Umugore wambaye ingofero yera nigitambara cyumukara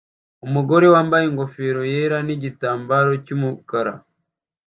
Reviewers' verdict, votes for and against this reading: rejected, 0, 2